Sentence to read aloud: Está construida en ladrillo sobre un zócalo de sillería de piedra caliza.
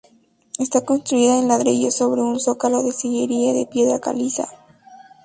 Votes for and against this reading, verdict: 6, 0, accepted